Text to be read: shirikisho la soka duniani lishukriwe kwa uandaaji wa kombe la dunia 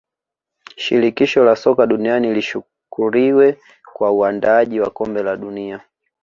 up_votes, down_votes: 0, 2